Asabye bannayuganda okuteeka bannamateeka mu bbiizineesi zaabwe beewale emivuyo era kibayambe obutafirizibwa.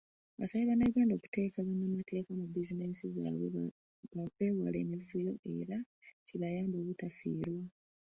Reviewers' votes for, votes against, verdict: 2, 1, accepted